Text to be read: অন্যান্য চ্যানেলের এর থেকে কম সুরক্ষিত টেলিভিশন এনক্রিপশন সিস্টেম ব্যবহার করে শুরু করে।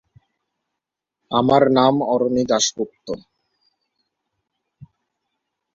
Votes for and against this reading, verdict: 1, 17, rejected